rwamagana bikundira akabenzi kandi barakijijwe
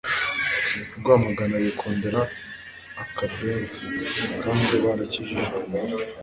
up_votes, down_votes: 2, 0